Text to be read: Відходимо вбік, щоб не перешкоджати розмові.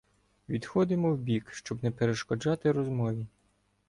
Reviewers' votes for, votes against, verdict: 2, 0, accepted